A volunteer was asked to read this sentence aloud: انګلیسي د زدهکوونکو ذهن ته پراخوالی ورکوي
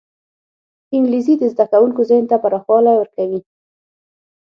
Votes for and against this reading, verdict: 6, 0, accepted